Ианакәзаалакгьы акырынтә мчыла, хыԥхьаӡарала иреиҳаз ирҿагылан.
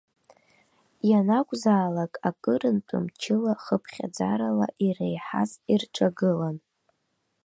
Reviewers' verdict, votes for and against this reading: rejected, 0, 3